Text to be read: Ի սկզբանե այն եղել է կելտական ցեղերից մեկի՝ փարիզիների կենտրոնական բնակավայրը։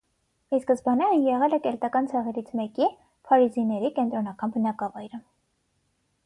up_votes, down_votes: 6, 0